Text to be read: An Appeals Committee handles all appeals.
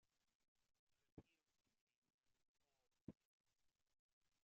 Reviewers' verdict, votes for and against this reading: rejected, 0, 2